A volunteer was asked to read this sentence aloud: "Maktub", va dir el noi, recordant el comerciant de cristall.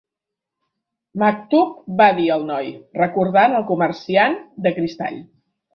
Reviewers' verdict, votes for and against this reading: accepted, 3, 0